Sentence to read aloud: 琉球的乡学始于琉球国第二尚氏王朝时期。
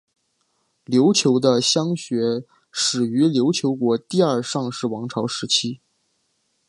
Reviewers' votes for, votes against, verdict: 3, 0, accepted